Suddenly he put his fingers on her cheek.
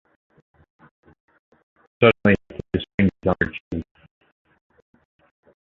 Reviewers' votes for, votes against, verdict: 0, 2, rejected